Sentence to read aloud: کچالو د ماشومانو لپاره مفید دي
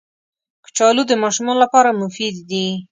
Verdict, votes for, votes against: accepted, 2, 0